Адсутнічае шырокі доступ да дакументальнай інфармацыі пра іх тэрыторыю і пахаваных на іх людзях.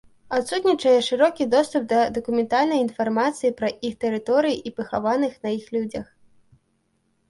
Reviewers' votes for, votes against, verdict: 2, 0, accepted